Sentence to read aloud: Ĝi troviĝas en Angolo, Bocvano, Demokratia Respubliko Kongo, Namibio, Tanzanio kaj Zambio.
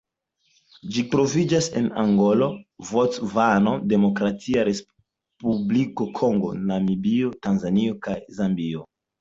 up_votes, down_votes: 2, 0